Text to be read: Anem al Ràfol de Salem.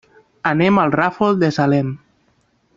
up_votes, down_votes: 3, 0